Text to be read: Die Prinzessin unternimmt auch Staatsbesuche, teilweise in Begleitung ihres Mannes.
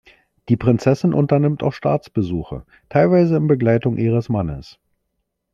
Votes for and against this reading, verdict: 3, 0, accepted